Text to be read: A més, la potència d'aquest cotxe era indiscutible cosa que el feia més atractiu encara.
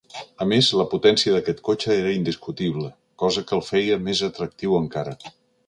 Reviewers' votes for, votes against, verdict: 2, 0, accepted